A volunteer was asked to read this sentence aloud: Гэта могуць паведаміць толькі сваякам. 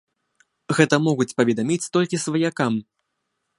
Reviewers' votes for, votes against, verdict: 1, 2, rejected